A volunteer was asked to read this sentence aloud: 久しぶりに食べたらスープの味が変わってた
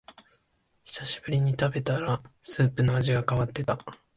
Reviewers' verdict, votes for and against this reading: accepted, 3, 0